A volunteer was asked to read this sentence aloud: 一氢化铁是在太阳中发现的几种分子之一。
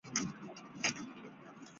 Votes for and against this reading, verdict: 0, 3, rejected